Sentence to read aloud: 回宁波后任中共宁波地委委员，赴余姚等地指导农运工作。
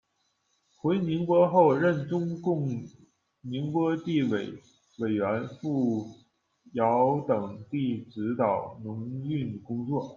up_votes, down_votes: 1, 2